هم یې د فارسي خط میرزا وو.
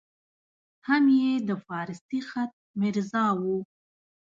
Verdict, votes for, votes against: accepted, 2, 0